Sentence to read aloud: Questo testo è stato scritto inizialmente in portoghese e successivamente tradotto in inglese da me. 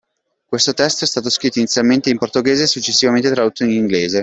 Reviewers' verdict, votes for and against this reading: rejected, 0, 2